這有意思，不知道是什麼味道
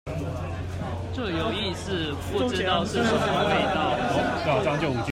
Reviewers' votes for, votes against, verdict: 0, 2, rejected